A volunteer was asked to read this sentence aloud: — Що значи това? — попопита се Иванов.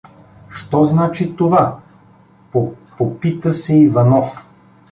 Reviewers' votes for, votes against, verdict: 1, 2, rejected